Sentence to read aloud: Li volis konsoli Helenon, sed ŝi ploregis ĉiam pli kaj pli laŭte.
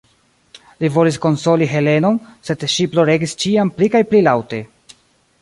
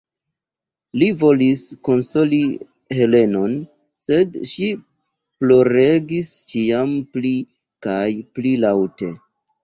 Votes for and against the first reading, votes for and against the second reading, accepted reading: 1, 2, 2, 0, second